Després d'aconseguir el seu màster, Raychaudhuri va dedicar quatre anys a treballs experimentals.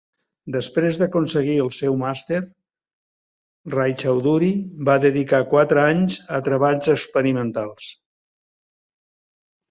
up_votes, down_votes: 2, 0